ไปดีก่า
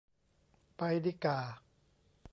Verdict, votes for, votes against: accepted, 2, 0